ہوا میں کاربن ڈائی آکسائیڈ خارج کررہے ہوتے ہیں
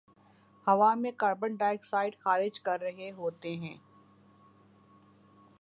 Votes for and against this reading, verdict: 2, 0, accepted